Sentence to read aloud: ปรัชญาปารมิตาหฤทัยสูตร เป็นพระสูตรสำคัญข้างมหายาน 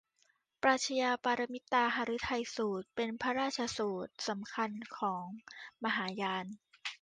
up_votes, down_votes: 0, 2